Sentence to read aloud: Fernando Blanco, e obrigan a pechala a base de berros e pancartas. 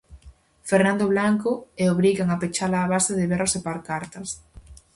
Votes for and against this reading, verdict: 2, 2, rejected